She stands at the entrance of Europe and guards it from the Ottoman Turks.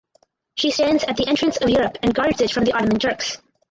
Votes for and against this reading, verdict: 2, 2, rejected